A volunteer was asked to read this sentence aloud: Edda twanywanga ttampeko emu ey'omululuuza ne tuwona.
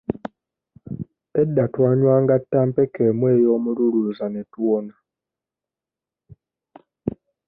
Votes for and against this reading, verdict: 2, 0, accepted